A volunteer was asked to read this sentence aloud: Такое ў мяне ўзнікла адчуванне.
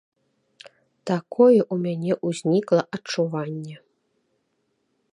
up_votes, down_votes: 2, 0